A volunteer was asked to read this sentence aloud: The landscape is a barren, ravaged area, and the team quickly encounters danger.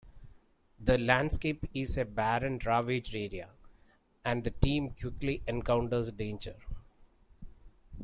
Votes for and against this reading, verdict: 2, 0, accepted